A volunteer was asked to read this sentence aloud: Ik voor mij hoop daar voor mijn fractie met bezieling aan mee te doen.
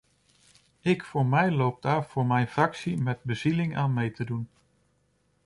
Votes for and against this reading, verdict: 1, 2, rejected